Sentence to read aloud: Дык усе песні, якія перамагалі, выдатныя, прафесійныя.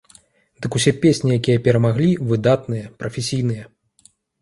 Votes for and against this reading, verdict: 1, 2, rejected